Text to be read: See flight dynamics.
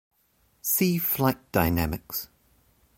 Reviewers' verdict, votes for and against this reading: accepted, 2, 1